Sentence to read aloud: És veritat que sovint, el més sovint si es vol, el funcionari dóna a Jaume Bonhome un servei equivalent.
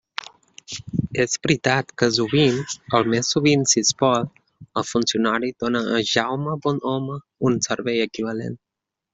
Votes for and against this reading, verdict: 1, 2, rejected